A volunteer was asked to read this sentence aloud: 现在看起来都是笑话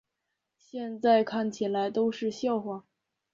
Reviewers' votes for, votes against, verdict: 4, 2, accepted